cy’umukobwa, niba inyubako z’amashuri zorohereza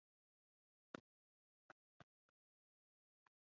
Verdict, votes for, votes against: rejected, 0, 2